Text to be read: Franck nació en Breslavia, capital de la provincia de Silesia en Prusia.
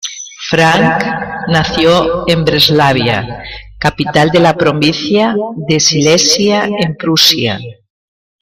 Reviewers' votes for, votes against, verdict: 0, 2, rejected